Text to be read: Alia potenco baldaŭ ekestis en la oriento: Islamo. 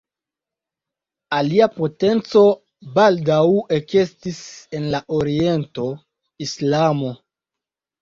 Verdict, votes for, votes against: accepted, 2, 1